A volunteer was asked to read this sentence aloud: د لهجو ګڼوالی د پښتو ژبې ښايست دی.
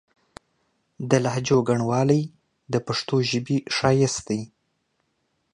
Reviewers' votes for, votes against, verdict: 2, 0, accepted